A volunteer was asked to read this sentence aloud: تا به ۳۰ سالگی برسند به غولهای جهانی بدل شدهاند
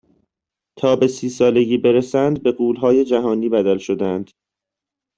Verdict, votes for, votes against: rejected, 0, 2